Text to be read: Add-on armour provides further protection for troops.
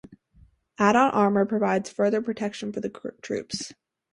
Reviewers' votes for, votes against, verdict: 2, 2, rejected